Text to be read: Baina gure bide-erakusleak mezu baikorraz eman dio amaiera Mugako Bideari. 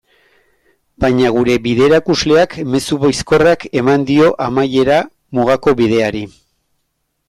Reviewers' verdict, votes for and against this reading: rejected, 1, 2